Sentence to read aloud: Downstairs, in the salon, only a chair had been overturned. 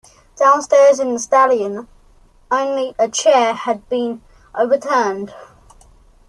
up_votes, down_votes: 0, 2